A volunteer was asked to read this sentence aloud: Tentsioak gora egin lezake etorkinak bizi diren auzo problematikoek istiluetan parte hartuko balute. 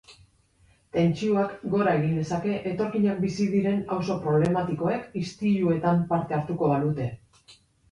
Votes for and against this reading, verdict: 2, 0, accepted